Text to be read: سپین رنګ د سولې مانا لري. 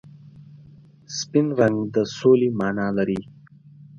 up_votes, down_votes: 4, 0